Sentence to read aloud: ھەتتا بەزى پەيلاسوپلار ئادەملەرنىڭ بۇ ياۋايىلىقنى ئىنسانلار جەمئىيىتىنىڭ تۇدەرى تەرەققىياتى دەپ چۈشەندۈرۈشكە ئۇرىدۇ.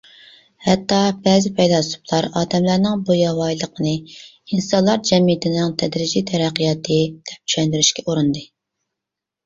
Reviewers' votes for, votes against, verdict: 0, 2, rejected